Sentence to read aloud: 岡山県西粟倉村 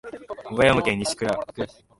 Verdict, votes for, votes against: rejected, 0, 3